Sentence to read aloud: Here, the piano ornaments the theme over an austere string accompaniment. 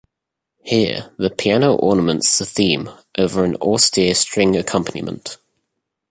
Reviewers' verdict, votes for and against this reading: accepted, 2, 0